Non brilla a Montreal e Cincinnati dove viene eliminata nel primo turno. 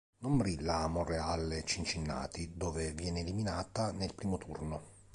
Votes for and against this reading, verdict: 1, 2, rejected